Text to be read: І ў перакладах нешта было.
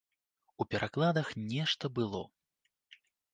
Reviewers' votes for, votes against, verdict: 1, 2, rejected